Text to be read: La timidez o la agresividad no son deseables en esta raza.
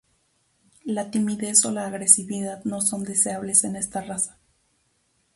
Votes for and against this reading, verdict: 2, 0, accepted